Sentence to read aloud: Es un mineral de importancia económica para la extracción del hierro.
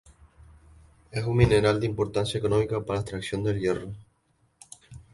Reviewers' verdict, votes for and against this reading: accepted, 2, 0